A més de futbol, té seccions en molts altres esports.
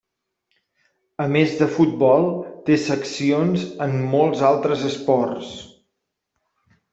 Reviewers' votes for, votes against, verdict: 3, 0, accepted